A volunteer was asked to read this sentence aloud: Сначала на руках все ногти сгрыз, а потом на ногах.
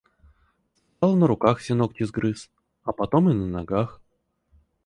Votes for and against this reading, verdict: 0, 4, rejected